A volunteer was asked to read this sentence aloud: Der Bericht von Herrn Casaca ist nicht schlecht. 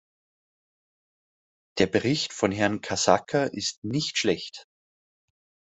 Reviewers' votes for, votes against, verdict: 2, 0, accepted